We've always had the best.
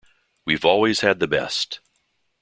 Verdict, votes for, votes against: accepted, 2, 0